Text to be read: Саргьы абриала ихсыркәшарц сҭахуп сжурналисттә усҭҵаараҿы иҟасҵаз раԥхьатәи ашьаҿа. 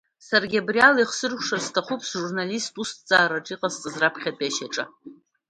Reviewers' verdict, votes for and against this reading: accepted, 2, 0